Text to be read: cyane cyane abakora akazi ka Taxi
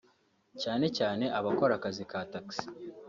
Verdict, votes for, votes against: accepted, 3, 0